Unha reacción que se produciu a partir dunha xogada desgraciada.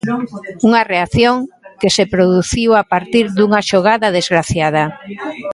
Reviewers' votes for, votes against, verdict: 2, 0, accepted